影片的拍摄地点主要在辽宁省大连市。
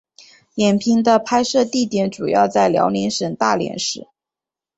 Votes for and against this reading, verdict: 5, 0, accepted